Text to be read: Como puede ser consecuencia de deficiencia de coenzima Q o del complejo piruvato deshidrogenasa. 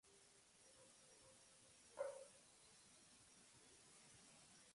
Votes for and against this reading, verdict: 0, 2, rejected